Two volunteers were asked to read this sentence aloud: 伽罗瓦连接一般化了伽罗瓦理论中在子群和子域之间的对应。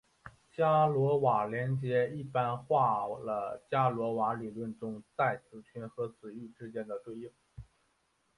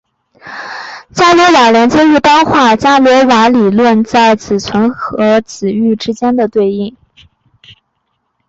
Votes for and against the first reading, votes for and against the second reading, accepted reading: 0, 3, 5, 0, second